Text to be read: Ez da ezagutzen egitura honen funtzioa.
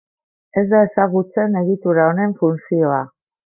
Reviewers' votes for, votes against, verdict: 0, 2, rejected